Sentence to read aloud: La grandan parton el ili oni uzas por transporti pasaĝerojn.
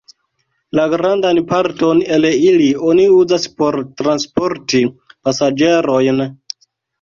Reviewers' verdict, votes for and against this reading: accepted, 2, 0